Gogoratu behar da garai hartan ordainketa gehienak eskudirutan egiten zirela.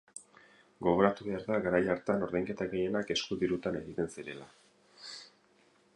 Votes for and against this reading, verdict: 4, 0, accepted